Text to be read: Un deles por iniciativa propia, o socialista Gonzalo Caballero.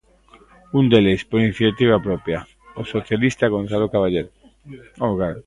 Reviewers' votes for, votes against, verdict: 0, 3, rejected